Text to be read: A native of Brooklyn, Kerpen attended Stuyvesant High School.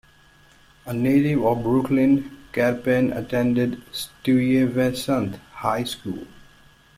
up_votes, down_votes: 2, 1